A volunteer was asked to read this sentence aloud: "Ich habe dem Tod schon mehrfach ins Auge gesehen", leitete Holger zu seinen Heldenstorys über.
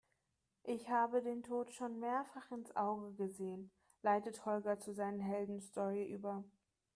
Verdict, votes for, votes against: rejected, 1, 2